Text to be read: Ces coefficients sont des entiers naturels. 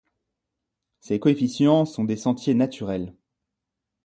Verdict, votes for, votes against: rejected, 1, 2